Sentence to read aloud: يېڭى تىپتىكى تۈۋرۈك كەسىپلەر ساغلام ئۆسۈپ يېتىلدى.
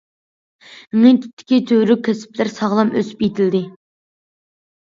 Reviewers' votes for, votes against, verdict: 1, 2, rejected